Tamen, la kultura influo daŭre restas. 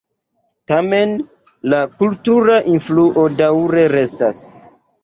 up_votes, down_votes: 4, 2